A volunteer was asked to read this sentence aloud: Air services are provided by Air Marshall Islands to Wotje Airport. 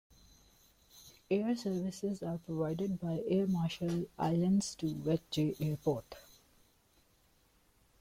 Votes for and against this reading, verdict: 0, 2, rejected